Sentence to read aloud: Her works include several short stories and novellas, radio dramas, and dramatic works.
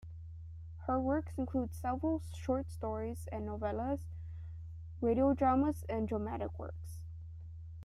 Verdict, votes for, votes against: accepted, 2, 0